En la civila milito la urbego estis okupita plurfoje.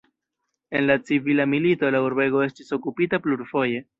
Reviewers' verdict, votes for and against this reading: rejected, 0, 2